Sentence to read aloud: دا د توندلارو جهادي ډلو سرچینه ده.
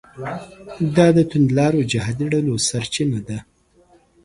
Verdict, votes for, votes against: accepted, 3, 1